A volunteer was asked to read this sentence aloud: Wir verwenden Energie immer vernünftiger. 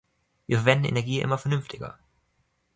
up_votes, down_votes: 2, 0